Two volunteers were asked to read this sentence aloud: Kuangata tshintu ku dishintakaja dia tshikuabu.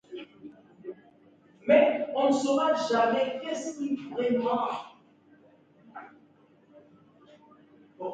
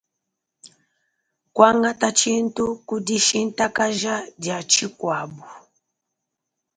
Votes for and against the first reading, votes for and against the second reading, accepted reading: 0, 2, 3, 0, second